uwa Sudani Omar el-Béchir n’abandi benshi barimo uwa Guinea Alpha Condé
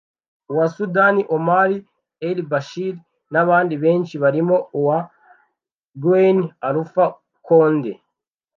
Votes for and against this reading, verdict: 1, 2, rejected